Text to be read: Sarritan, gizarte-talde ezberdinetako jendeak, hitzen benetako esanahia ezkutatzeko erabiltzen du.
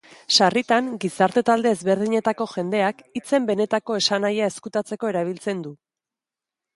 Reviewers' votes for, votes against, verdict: 1, 2, rejected